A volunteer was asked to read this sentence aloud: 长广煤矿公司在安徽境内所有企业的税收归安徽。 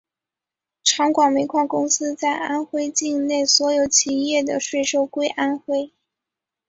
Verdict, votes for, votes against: accepted, 2, 0